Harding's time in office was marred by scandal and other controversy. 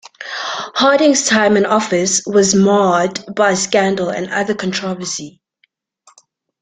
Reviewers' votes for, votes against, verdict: 1, 2, rejected